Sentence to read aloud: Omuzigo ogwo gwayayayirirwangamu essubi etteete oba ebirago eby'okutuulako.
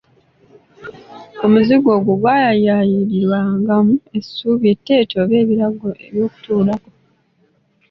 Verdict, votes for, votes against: accepted, 2, 0